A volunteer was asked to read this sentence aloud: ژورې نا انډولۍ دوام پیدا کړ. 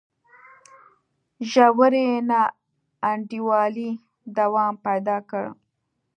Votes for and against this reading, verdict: 2, 0, accepted